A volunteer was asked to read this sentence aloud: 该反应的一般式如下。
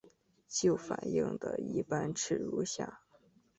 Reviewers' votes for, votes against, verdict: 0, 3, rejected